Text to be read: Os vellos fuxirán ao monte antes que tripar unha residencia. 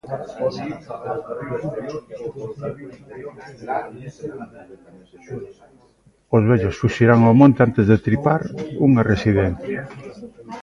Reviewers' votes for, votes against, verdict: 0, 2, rejected